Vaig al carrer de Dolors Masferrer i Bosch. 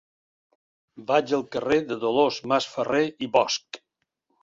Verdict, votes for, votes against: accepted, 3, 0